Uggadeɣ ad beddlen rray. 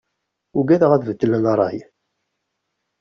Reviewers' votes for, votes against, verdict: 2, 0, accepted